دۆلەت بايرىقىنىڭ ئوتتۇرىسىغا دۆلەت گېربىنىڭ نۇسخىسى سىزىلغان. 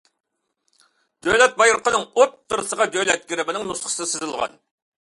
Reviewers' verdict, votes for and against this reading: accepted, 2, 0